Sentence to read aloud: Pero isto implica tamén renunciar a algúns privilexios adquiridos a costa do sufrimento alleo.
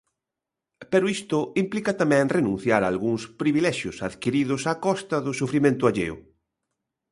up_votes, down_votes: 2, 0